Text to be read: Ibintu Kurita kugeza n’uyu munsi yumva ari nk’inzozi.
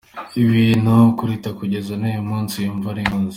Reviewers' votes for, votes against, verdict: 1, 2, rejected